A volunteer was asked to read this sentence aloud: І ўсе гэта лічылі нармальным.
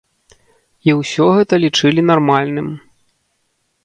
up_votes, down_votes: 0, 2